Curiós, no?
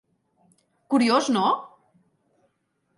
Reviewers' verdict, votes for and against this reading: accepted, 6, 0